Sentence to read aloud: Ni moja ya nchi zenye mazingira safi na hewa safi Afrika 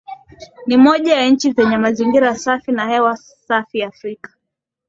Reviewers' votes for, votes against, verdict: 2, 0, accepted